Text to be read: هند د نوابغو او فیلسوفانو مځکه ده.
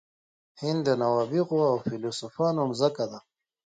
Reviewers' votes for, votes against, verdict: 2, 0, accepted